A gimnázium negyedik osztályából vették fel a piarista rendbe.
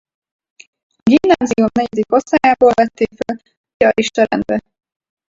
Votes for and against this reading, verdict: 2, 4, rejected